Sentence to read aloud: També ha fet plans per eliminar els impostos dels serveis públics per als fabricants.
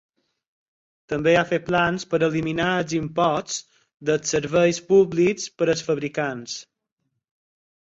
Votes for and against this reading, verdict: 4, 0, accepted